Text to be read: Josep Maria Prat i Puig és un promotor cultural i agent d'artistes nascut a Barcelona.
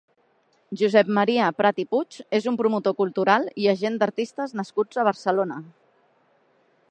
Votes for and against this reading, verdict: 2, 0, accepted